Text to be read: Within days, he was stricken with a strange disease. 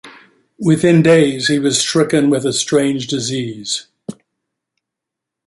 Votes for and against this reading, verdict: 1, 2, rejected